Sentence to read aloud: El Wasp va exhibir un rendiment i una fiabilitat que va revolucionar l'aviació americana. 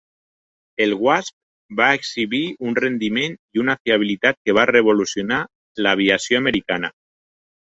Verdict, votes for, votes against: accepted, 3, 0